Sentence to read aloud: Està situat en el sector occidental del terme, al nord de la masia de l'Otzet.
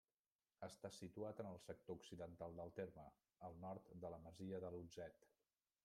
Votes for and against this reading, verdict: 1, 2, rejected